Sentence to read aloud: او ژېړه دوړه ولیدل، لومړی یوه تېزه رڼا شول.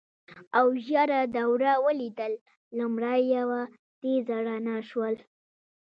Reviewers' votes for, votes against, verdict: 1, 2, rejected